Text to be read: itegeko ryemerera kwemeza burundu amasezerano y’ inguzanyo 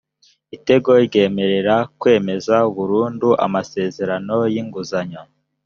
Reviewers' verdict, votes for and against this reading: rejected, 0, 2